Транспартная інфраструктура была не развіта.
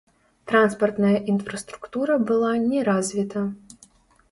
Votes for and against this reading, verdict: 1, 2, rejected